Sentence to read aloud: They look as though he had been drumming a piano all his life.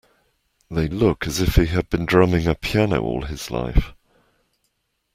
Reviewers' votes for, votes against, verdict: 0, 2, rejected